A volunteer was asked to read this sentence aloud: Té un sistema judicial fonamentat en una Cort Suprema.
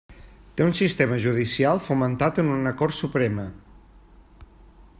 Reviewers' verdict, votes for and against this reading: rejected, 1, 2